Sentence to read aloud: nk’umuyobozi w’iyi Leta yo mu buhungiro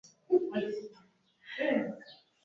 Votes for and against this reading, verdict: 1, 2, rejected